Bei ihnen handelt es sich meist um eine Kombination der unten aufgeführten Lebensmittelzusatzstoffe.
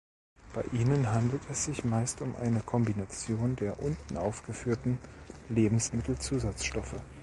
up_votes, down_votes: 2, 0